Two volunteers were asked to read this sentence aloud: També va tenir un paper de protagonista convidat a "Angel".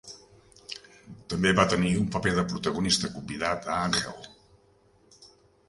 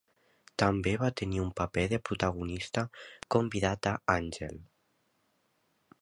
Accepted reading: second